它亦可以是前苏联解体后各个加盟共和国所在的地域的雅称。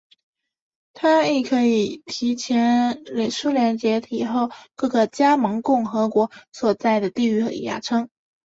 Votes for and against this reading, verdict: 2, 0, accepted